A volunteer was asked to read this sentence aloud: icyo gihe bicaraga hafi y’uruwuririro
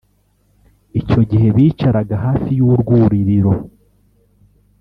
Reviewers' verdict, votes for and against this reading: rejected, 1, 2